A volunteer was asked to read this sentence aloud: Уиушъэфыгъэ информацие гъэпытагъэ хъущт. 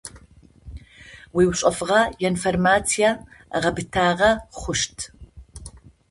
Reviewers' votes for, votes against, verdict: 2, 0, accepted